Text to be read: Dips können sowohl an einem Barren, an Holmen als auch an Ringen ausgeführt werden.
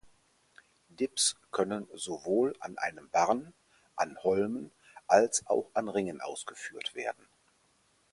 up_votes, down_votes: 4, 0